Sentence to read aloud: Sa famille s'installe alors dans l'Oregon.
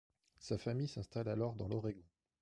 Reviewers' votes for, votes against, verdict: 2, 0, accepted